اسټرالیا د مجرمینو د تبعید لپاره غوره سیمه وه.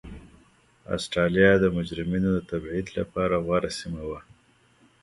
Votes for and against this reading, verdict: 1, 2, rejected